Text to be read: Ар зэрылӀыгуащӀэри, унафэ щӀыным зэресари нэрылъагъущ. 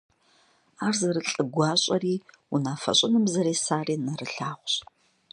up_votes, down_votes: 2, 0